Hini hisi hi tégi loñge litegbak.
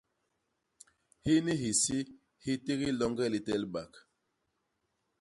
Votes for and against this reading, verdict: 0, 2, rejected